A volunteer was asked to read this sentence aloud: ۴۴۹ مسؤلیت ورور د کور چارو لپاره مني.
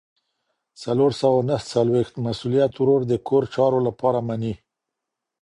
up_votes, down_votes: 0, 2